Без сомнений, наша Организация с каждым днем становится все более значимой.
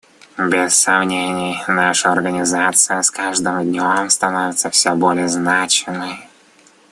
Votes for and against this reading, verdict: 2, 0, accepted